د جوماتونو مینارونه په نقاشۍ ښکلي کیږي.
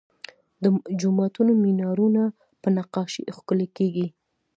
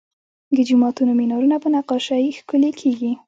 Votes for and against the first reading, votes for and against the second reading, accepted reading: 2, 0, 1, 2, first